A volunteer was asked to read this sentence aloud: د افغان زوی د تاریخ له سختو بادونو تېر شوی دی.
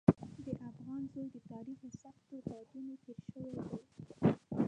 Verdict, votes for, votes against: rejected, 1, 2